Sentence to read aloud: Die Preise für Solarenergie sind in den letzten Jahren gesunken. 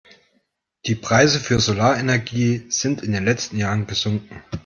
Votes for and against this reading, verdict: 2, 0, accepted